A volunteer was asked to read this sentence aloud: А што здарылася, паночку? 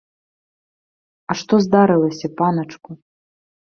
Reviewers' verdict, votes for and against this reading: rejected, 0, 2